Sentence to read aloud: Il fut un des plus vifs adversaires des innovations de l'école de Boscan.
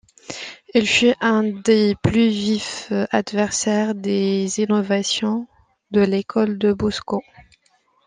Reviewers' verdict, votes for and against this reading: accepted, 2, 1